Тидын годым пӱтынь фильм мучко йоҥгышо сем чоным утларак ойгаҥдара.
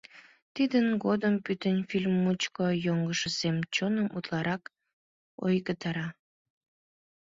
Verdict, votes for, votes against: rejected, 0, 2